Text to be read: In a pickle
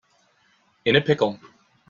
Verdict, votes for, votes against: accepted, 2, 0